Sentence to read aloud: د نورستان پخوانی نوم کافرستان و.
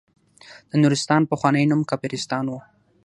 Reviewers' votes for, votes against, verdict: 6, 0, accepted